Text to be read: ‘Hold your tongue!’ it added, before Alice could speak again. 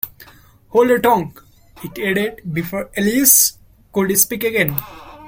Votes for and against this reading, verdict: 1, 2, rejected